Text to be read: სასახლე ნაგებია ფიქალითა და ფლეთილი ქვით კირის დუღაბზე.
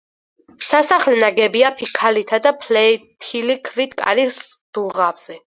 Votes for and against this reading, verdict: 0, 4, rejected